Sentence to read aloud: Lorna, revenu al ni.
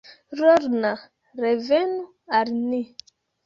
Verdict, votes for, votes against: rejected, 1, 2